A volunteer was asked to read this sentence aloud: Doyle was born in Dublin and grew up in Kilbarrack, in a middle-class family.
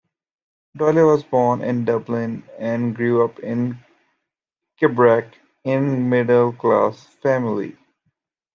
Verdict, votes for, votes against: rejected, 0, 2